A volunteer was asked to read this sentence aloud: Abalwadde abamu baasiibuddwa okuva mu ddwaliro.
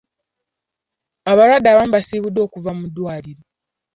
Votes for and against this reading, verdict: 2, 0, accepted